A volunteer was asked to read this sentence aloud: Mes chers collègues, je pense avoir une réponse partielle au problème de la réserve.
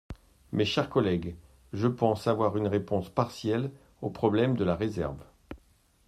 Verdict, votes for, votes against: accepted, 2, 0